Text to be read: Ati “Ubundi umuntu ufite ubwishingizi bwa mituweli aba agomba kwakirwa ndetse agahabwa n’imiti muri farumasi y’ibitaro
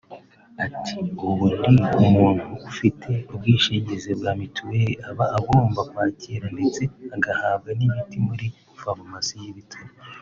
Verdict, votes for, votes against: accepted, 2, 1